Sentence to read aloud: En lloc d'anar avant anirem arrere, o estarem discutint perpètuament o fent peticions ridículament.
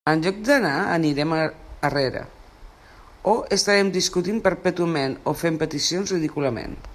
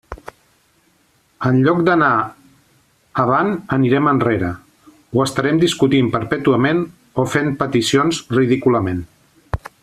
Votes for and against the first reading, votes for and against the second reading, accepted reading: 0, 2, 2, 1, second